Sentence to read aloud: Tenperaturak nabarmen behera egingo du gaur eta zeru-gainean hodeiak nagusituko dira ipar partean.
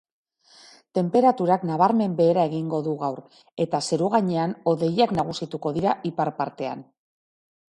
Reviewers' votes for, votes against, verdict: 2, 0, accepted